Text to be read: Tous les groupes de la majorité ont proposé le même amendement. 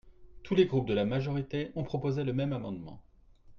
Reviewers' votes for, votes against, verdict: 2, 0, accepted